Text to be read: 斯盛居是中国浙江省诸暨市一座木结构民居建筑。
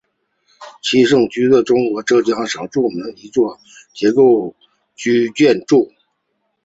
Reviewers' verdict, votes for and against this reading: rejected, 1, 2